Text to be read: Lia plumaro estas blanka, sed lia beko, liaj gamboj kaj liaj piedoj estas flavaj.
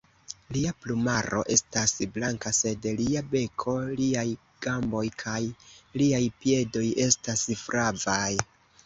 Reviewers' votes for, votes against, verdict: 2, 0, accepted